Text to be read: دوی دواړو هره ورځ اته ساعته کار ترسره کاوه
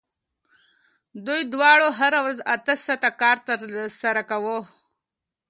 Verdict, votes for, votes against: accepted, 2, 0